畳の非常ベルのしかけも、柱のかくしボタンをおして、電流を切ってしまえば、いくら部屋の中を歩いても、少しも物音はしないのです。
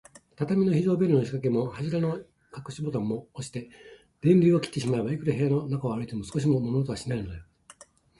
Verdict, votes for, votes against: rejected, 1, 2